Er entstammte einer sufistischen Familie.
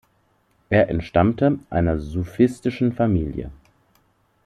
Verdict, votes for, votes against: accepted, 2, 0